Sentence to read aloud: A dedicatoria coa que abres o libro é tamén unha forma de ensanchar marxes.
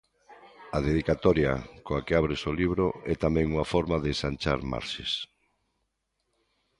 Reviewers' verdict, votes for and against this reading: accepted, 2, 0